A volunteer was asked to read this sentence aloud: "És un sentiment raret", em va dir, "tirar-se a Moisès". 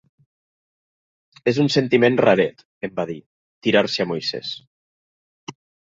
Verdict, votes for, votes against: accepted, 2, 0